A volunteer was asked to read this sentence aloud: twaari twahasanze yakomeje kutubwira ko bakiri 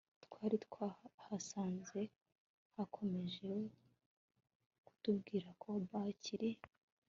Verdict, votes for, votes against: accepted, 2, 0